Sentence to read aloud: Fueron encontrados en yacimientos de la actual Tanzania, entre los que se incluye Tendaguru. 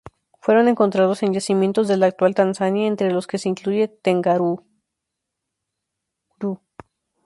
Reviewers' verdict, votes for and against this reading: rejected, 0, 2